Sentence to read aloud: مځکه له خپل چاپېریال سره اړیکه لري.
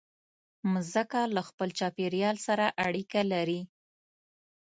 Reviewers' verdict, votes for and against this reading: rejected, 0, 2